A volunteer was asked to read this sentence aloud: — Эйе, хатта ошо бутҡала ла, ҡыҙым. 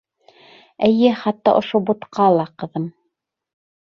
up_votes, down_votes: 1, 2